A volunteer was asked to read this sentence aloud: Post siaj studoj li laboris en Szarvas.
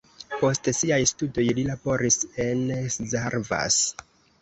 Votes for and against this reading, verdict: 2, 0, accepted